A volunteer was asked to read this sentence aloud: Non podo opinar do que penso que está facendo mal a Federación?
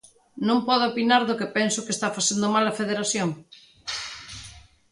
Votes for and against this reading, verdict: 2, 1, accepted